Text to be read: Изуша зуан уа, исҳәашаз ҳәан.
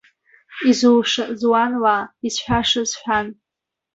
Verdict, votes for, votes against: rejected, 1, 2